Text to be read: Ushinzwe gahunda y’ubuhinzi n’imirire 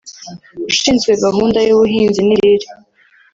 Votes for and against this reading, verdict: 2, 3, rejected